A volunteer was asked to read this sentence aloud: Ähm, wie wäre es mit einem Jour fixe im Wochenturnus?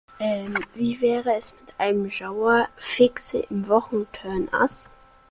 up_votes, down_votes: 0, 2